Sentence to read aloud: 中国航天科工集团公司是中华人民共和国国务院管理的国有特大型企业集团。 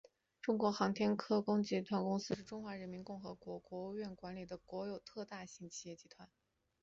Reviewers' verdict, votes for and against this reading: accepted, 2, 0